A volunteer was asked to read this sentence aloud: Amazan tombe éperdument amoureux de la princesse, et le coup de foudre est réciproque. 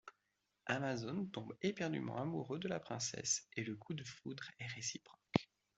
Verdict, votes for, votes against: rejected, 1, 2